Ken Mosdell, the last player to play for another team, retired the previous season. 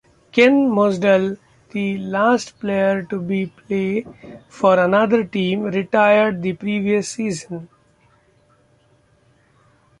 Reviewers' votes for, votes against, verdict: 2, 0, accepted